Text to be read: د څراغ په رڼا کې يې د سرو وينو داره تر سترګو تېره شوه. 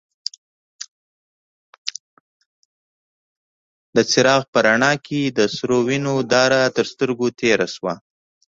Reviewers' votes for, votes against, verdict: 1, 2, rejected